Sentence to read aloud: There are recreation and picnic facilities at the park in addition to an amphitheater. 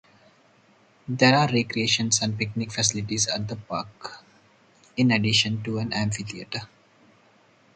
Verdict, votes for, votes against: rejected, 2, 4